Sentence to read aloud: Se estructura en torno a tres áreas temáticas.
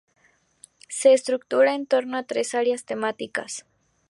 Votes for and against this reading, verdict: 0, 2, rejected